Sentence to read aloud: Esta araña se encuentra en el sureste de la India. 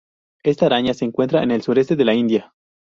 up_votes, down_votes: 0, 2